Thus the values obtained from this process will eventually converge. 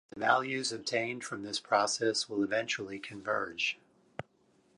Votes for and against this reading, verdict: 0, 2, rejected